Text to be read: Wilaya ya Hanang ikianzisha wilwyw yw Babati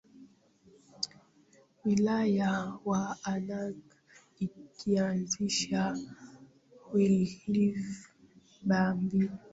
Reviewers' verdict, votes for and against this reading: rejected, 0, 3